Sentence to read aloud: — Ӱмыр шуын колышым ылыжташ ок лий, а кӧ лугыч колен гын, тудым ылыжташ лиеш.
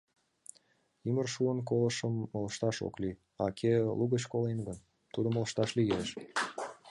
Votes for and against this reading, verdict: 2, 0, accepted